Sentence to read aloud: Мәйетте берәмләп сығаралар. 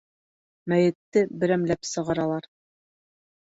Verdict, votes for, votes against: accepted, 2, 0